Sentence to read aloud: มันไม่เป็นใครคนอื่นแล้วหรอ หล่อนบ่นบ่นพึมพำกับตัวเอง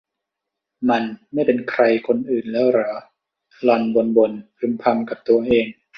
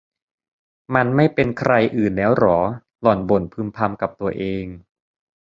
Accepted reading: first